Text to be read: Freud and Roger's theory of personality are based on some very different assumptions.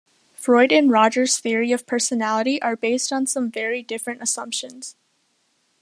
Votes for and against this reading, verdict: 2, 0, accepted